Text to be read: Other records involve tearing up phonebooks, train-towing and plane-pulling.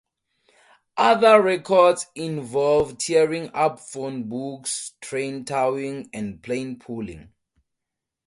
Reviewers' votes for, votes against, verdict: 4, 0, accepted